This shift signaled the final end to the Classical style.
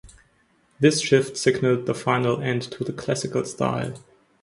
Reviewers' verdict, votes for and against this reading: accepted, 2, 0